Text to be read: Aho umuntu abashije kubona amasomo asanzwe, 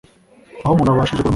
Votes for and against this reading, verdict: 1, 2, rejected